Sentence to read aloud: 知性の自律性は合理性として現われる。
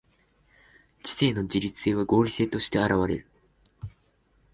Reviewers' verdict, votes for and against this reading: accepted, 2, 0